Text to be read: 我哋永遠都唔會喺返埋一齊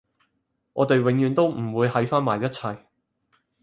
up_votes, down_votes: 4, 0